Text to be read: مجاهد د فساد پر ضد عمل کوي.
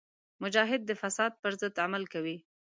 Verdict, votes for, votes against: accepted, 3, 0